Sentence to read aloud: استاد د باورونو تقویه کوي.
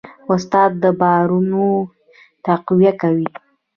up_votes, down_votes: 2, 0